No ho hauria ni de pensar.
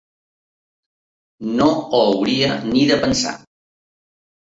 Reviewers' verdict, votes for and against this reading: accepted, 2, 1